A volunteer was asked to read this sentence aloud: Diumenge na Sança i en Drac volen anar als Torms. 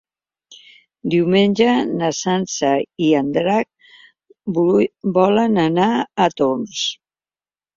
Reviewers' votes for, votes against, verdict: 0, 2, rejected